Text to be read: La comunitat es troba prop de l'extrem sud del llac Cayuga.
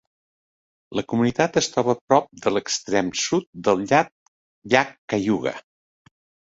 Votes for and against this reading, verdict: 1, 2, rejected